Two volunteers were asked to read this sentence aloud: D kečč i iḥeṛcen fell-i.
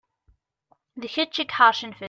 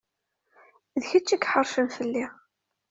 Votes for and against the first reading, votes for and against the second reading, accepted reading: 0, 2, 2, 0, second